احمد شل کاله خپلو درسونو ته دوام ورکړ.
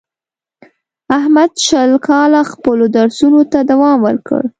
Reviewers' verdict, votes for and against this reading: accepted, 2, 0